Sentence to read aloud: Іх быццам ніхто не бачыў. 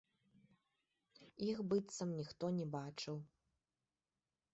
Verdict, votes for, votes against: accepted, 2, 0